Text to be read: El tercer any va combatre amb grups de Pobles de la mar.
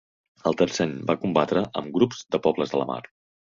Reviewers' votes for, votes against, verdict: 2, 3, rejected